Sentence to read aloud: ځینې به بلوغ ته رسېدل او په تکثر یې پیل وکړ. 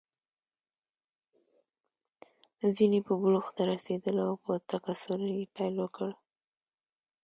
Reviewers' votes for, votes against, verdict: 1, 2, rejected